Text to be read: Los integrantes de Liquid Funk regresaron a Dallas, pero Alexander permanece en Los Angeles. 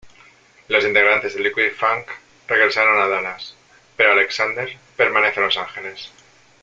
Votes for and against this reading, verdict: 1, 2, rejected